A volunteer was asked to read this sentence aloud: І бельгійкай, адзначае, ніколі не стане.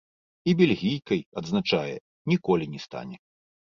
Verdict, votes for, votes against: rejected, 0, 2